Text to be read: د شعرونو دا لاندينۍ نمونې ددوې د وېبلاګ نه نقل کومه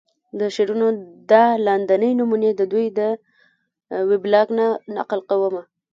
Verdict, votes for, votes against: rejected, 1, 2